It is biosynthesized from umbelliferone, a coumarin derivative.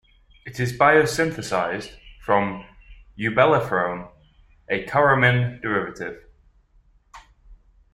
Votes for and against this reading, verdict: 1, 2, rejected